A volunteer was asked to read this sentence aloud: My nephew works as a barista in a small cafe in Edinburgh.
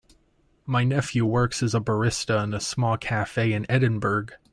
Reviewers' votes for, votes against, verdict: 1, 2, rejected